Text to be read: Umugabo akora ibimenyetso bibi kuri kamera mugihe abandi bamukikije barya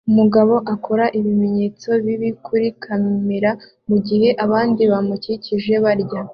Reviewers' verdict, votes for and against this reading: accepted, 2, 0